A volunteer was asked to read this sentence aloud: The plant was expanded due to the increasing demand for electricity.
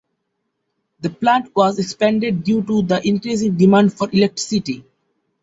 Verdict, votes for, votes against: accepted, 2, 0